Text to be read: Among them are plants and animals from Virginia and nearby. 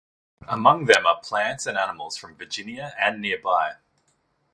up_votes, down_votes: 2, 0